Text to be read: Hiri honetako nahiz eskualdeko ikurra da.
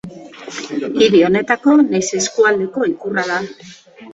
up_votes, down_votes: 2, 0